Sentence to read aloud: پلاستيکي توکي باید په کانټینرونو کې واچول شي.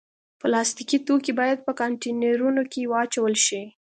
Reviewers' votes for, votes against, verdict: 2, 0, accepted